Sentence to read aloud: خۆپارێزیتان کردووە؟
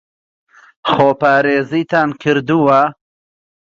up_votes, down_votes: 2, 0